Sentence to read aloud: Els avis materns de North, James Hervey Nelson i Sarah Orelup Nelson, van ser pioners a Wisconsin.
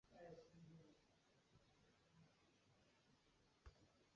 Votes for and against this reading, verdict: 0, 2, rejected